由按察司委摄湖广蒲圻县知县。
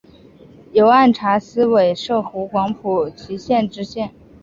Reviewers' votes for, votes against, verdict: 2, 0, accepted